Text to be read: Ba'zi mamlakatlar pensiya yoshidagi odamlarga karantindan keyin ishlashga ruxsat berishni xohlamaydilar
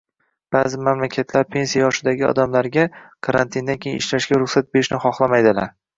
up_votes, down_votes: 2, 0